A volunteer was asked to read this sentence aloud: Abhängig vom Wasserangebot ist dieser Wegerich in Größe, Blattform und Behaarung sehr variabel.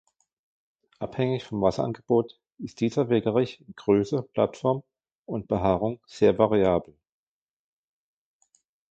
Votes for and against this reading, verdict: 2, 1, accepted